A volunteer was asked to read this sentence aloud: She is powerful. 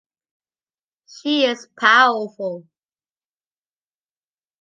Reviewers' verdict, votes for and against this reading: accepted, 2, 0